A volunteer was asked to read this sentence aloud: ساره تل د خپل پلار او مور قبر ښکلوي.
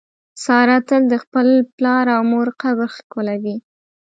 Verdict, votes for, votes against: accepted, 2, 0